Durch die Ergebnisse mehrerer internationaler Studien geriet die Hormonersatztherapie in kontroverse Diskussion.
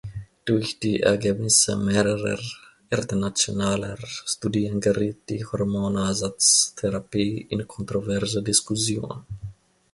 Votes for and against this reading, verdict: 1, 2, rejected